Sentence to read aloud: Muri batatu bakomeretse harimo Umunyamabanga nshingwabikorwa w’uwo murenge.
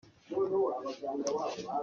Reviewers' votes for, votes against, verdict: 0, 2, rejected